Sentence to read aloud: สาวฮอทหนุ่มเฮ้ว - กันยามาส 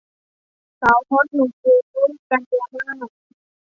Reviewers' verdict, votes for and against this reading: rejected, 1, 2